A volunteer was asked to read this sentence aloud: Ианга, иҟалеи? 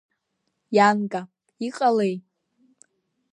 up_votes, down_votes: 2, 0